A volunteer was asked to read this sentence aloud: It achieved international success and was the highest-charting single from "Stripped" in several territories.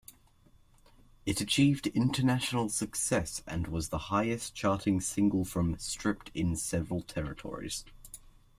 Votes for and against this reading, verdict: 2, 0, accepted